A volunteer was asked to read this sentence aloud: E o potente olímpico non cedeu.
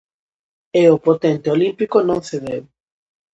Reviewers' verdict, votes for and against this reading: accepted, 2, 0